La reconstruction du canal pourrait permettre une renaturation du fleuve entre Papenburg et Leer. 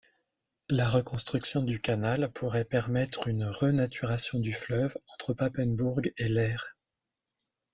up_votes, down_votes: 2, 0